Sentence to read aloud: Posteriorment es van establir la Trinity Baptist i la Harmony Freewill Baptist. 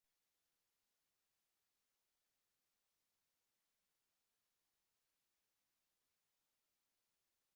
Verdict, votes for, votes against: rejected, 0, 2